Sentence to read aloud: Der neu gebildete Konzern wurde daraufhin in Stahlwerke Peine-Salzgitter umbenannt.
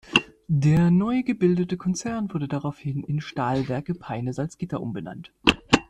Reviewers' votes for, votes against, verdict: 2, 0, accepted